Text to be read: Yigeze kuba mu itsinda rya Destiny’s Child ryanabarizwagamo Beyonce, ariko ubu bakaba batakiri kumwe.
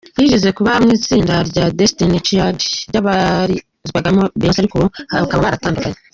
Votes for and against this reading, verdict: 0, 2, rejected